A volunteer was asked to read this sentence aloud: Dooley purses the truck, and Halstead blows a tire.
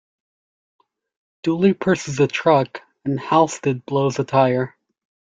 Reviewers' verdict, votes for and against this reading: accepted, 2, 1